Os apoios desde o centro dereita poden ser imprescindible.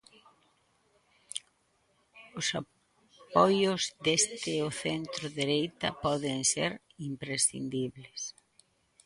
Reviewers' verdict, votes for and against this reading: rejected, 0, 2